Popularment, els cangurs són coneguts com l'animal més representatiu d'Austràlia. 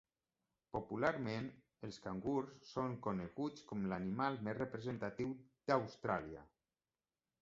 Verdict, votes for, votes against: accepted, 3, 0